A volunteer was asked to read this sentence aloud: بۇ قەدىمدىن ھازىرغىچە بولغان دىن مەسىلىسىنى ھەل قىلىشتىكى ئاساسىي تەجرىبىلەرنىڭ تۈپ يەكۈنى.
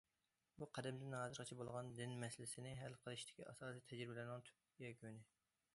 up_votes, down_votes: 2, 0